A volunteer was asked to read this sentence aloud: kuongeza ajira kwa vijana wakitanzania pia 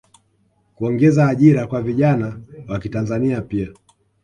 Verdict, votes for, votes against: accepted, 2, 0